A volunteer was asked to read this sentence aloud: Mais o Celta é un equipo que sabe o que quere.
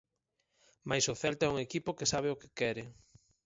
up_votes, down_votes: 4, 0